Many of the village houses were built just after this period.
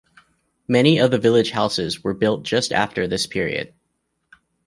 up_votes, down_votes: 2, 0